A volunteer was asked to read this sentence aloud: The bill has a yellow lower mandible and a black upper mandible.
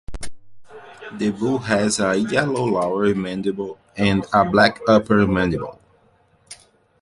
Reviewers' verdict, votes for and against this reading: rejected, 1, 2